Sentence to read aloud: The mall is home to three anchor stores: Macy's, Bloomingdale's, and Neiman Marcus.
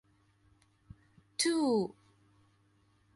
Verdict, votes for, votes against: rejected, 0, 2